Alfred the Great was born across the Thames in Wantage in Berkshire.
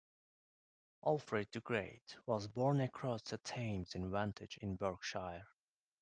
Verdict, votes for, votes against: rejected, 1, 2